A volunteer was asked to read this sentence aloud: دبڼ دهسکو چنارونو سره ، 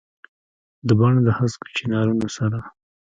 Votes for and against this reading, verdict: 1, 2, rejected